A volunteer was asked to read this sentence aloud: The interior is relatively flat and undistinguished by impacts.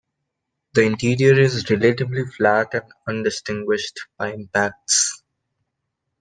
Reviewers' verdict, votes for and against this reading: rejected, 0, 2